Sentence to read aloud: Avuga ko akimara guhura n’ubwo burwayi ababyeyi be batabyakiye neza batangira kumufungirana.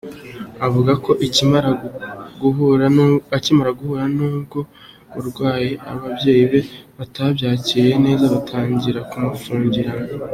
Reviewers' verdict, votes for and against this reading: rejected, 2, 3